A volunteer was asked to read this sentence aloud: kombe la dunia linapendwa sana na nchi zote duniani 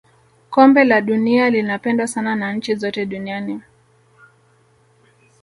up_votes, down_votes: 1, 2